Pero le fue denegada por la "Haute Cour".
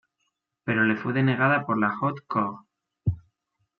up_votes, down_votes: 2, 1